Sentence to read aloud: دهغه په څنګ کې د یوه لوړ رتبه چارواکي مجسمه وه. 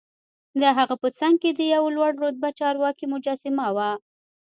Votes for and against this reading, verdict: 1, 2, rejected